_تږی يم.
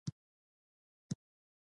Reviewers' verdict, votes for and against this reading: rejected, 0, 2